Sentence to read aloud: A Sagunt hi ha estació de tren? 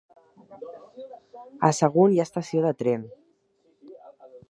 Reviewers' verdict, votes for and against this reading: rejected, 1, 2